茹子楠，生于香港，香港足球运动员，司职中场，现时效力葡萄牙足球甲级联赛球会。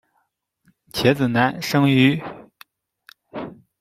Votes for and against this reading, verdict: 0, 2, rejected